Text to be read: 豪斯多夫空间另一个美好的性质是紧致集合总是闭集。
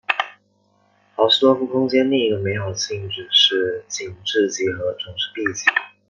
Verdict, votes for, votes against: rejected, 1, 2